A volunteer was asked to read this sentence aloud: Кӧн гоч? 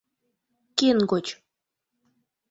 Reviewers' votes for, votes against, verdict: 0, 2, rejected